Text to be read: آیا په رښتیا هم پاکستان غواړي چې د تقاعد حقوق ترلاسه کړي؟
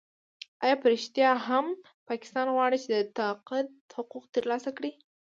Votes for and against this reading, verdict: 1, 2, rejected